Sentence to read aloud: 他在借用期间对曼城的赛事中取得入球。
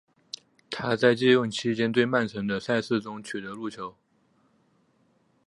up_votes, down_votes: 2, 0